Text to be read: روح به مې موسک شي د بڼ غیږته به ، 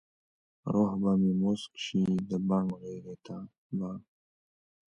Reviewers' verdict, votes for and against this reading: rejected, 0, 2